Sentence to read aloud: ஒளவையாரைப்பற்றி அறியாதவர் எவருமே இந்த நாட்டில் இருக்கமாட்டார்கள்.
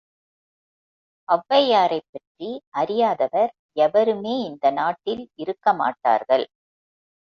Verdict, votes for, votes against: accepted, 2, 0